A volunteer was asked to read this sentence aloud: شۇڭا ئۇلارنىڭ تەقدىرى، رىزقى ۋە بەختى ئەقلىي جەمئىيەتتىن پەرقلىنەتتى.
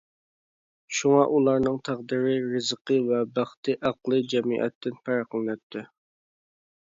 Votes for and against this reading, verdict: 2, 0, accepted